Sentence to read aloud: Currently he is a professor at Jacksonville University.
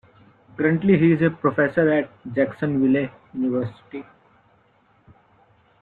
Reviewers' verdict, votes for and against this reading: rejected, 1, 2